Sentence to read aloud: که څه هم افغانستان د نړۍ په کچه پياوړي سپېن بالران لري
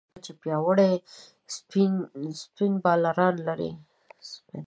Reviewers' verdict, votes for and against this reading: rejected, 0, 2